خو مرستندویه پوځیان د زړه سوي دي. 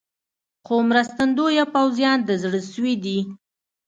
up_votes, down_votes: 2, 0